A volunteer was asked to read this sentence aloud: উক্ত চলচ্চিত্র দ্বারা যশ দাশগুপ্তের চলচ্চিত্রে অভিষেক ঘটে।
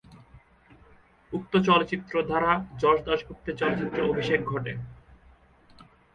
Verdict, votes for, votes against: rejected, 0, 2